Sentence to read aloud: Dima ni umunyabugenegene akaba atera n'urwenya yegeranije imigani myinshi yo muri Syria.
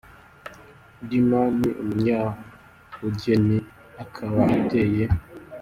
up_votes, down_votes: 0, 2